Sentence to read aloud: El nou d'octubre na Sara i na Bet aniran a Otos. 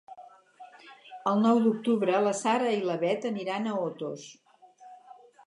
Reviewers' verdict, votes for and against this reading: rejected, 0, 2